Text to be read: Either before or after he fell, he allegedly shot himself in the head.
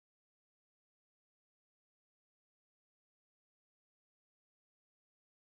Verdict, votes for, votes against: rejected, 1, 2